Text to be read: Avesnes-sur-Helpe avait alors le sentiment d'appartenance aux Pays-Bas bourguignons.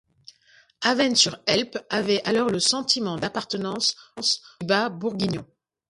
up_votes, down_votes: 0, 2